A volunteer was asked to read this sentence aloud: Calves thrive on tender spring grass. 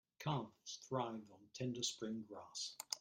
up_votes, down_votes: 1, 2